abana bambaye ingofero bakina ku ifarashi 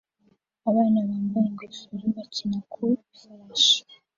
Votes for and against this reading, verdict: 2, 0, accepted